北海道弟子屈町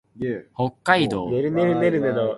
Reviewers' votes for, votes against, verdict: 0, 2, rejected